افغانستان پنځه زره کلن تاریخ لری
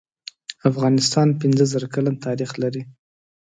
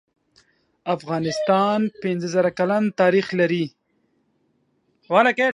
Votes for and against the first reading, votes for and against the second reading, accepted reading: 2, 0, 1, 2, first